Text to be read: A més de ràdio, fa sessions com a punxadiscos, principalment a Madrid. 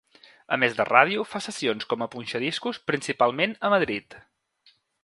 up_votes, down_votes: 0, 2